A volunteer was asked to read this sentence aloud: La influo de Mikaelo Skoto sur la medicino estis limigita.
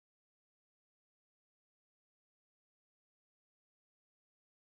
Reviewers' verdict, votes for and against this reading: rejected, 0, 2